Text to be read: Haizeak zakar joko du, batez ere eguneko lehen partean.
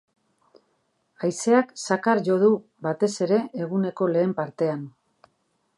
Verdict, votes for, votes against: rejected, 0, 2